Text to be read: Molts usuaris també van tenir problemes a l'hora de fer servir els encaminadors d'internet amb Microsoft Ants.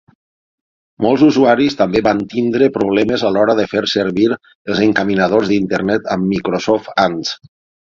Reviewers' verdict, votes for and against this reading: rejected, 0, 6